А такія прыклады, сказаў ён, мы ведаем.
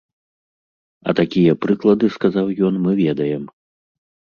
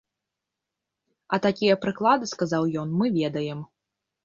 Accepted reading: first